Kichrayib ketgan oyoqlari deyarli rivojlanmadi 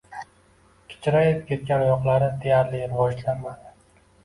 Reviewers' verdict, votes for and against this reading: accepted, 2, 0